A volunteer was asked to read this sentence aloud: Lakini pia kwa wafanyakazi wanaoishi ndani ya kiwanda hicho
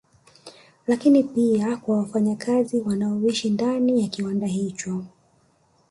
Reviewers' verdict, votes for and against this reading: rejected, 1, 2